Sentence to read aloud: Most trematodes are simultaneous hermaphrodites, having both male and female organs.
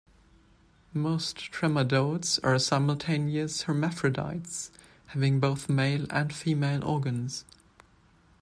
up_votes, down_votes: 1, 2